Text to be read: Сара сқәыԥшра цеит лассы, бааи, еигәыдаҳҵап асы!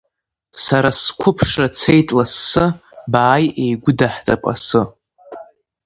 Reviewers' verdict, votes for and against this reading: accepted, 2, 0